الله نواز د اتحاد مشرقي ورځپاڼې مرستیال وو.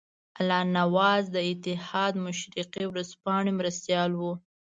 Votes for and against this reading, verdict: 2, 0, accepted